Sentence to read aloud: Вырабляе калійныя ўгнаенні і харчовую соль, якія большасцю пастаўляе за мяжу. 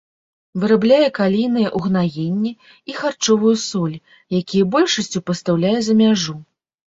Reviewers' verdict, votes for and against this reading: accepted, 2, 0